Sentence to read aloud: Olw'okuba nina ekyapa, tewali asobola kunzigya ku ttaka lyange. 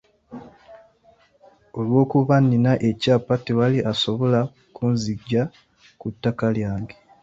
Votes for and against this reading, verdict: 2, 0, accepted